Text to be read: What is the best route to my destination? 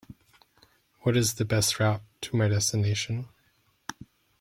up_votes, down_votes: 2, 0